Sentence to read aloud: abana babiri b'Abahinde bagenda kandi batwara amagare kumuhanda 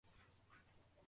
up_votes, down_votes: 0, 2